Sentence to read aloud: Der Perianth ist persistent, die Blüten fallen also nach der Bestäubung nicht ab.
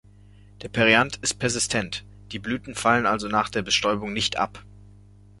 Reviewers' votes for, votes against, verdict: 2, 1, accepted